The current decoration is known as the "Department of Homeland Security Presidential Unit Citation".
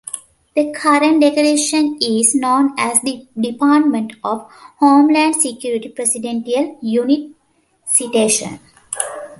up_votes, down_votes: 2, 0